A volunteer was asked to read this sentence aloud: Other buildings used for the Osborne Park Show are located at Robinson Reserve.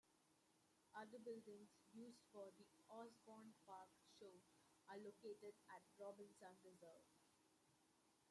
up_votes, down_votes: 0, 2